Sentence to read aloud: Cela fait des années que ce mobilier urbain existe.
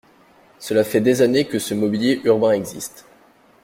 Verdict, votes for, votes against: accepted, 2, 0